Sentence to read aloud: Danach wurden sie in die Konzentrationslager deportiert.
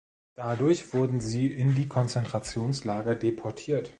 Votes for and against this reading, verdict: 1, 2, rejected